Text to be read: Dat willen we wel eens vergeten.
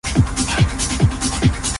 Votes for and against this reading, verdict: 0, 2, rejected